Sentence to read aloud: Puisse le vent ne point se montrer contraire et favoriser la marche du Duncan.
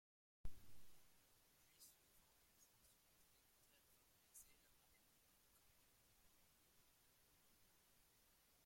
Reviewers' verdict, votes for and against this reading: rejected, 0, 2